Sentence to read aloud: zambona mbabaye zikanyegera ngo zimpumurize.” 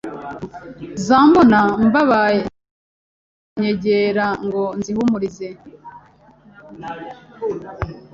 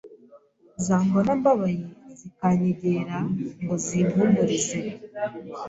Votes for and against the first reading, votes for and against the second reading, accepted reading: 1, 2, 2, 0, second